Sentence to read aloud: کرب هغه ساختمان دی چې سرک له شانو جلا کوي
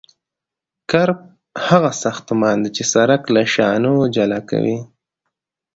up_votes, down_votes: 2, 0